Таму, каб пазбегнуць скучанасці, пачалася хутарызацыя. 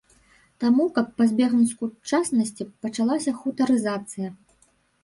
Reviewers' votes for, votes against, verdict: 1, 2, rejected